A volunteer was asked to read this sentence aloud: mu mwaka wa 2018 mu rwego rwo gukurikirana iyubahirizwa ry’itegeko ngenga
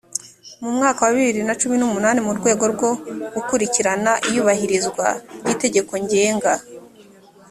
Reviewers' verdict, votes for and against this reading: rejected, 0, 2